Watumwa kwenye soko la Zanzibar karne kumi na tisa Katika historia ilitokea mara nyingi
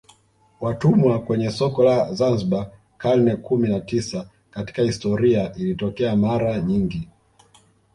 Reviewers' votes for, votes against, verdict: 1, 2, rejected